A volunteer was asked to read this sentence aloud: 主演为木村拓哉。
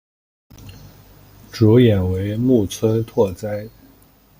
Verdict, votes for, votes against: accepted, 2, 0